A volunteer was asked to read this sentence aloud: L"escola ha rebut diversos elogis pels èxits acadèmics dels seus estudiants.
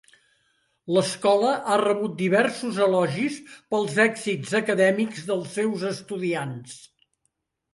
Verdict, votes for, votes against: accepted, 2, 0